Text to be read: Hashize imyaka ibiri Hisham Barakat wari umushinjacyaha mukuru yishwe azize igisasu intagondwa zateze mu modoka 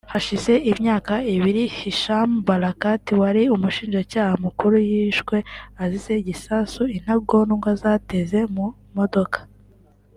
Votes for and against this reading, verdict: 2, 0, accepted